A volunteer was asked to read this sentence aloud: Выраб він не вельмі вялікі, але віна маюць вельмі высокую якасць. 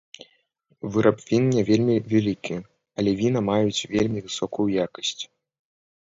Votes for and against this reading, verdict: 1, 2, rejected